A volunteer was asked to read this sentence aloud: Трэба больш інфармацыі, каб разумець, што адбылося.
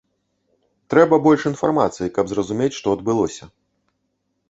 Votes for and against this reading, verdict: 1, 2, rejected